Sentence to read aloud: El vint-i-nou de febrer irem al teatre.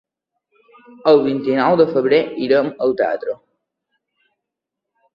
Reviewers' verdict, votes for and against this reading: rejected, 1, 2